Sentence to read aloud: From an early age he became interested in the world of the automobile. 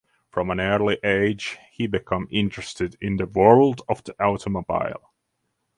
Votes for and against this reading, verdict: 3, 3, rejected